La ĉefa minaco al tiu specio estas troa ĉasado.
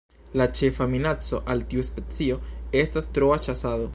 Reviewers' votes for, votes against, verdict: 1, 2, rejected